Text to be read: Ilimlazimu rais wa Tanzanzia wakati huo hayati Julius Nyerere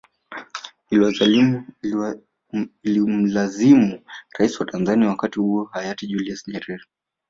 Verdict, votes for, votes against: rejected, 1, 2